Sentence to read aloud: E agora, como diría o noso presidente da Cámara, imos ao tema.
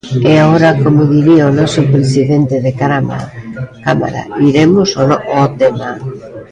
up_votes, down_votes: 0, 2